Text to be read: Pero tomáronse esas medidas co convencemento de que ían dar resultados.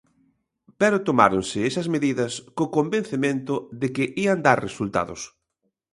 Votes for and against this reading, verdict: 2, 0, accepted